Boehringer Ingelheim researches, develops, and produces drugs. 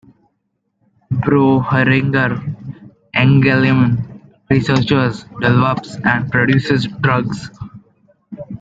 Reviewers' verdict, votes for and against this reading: rejected, 0, 2